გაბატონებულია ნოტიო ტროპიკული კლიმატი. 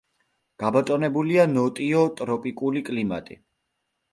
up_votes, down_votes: 2, 0